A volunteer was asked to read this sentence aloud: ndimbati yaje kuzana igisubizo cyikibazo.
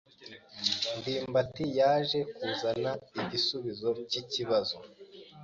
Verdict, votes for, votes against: accepted, 2, 0